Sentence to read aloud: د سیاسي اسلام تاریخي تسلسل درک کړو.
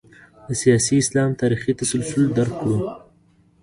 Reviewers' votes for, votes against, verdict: 2, 0, accepted